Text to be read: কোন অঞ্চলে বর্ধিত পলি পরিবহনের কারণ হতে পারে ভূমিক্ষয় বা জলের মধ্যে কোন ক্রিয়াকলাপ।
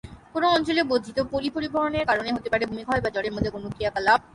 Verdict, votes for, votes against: accepted, 6, 0